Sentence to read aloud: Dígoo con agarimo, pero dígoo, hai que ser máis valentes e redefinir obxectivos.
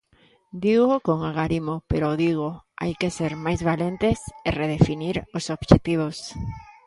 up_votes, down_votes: 0, 2